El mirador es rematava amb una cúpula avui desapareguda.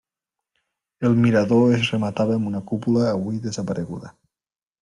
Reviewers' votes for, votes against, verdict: 3, 0, accepted